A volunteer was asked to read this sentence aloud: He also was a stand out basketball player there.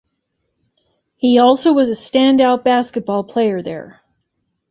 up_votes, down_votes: 2, 0